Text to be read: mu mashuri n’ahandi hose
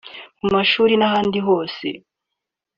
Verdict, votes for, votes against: accepted, 3, 0